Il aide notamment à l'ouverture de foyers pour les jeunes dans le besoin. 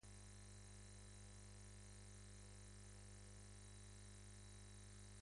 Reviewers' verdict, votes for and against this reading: rejected, 1, 2